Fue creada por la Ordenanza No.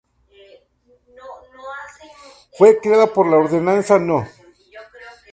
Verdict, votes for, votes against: rejected, 0, 2